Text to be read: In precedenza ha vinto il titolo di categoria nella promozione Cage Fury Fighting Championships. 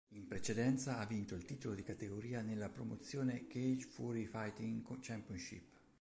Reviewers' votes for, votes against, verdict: 1, 2, rejected